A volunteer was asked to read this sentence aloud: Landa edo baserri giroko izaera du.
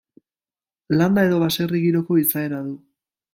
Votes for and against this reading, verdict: 2, 0, accepted